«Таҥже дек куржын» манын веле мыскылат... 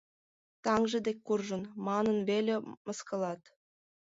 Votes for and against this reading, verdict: 1, 2, rejected